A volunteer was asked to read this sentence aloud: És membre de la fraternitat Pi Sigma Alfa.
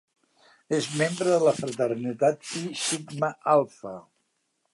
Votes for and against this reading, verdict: 0, 2, rejected